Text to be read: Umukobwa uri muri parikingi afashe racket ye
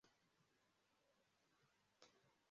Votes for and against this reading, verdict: 0, 2, rejected